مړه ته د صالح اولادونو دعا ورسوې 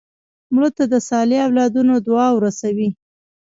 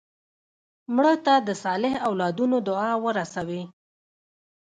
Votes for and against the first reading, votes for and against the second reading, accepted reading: 2, 1, 1, 2, first